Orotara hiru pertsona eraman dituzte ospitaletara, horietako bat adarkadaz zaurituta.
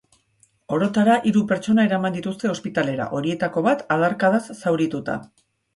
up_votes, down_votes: 0, 2